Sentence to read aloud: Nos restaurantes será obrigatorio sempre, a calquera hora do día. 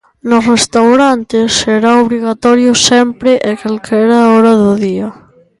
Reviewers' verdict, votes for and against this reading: rejected, 0, 2